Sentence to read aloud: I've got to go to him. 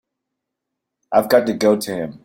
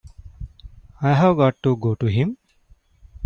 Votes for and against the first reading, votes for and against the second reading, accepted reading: 2, 0, 0, 2, first